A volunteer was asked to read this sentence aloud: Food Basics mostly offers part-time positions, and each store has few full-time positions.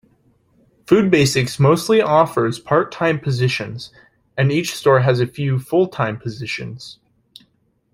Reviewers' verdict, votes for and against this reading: rejected, 0, 2